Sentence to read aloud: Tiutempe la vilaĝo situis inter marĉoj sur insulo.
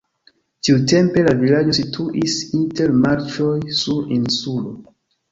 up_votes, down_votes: 2, 0